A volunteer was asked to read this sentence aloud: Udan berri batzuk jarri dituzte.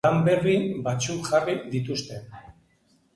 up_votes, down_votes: 1, 2